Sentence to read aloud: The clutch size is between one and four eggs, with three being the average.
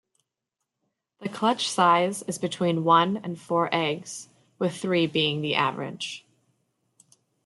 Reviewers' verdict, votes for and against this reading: accepted, 2, 0